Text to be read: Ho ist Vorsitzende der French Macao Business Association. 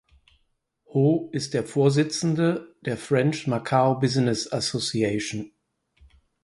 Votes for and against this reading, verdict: 0, 4, rejected